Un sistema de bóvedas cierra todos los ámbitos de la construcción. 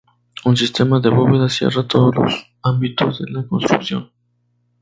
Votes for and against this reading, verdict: 2, 0, accepted